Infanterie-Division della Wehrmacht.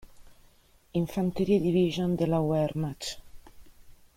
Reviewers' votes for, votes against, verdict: 0, 2, rejected